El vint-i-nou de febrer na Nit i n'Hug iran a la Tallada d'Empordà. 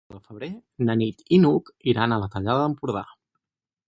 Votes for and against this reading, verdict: 2, 4, rejected